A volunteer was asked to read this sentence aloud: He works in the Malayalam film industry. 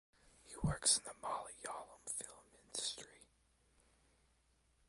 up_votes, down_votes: 2, 0